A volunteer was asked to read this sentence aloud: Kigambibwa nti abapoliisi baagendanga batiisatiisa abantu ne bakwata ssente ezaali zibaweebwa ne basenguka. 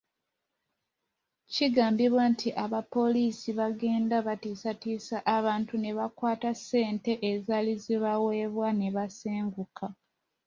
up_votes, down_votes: 2, 1